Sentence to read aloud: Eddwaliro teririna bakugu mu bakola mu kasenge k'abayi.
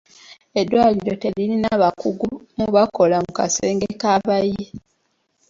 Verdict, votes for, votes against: accepted, 2, 0